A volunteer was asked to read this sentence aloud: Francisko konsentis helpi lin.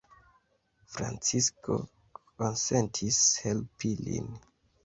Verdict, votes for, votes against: accepted, 2, 0